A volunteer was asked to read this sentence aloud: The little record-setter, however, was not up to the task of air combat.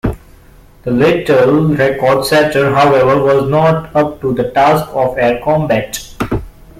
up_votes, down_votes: 0, 2